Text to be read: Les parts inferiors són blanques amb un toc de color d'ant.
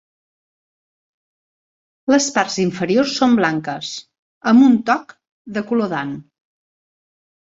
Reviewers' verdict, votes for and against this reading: accepted, 3, 0